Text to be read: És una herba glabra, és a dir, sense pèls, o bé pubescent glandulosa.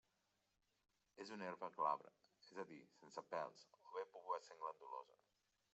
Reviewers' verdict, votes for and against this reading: rejected, 0, 3